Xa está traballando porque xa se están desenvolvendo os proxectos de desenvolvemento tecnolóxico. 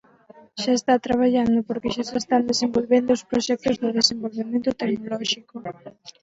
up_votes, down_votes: 2, 4